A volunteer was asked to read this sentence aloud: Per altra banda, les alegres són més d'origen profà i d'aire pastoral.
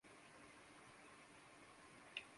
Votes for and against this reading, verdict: 0, 2, rejected